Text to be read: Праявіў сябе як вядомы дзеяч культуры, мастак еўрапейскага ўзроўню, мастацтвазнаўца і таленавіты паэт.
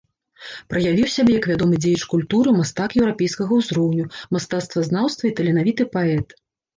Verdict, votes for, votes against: rejected, 0, 2